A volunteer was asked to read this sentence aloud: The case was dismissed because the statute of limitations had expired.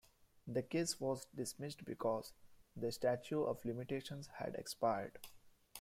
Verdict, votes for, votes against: rejected, 0, 2